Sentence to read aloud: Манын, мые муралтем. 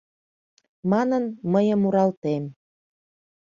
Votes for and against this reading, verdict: 2, 0, accepted